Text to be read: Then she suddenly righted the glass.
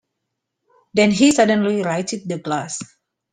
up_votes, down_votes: 0, 2